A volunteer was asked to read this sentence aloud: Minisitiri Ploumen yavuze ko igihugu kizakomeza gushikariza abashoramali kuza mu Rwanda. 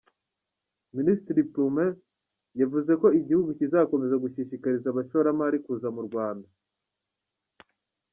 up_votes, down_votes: 1, 2